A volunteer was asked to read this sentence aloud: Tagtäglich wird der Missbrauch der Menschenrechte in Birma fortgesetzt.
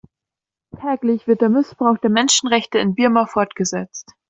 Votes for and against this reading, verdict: 0, 2, rejected